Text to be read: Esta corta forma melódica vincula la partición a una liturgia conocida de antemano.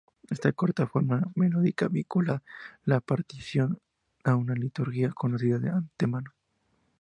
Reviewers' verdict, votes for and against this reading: accepted, 4, 0